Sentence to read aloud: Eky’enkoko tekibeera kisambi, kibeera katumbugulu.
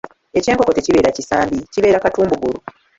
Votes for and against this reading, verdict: 0, 2, rejected